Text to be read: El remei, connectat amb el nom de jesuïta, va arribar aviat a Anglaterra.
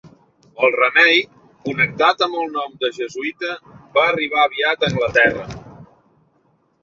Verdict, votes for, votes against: accepted, 3, 1